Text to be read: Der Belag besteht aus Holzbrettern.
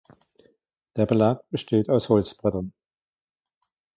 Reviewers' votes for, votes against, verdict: 2, 0, accepted